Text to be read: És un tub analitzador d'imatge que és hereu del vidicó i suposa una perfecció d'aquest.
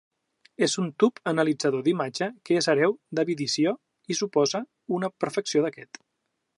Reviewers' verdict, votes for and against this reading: rejected, 0, 2